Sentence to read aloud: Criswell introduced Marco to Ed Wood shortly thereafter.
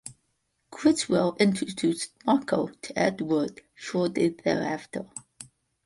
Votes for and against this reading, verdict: 2, 1, accepted